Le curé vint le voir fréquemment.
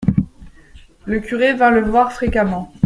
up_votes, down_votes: 2, 0